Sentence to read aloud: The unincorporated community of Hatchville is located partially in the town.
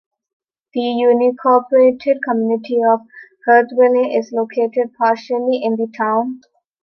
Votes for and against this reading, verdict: 0, 2, rejected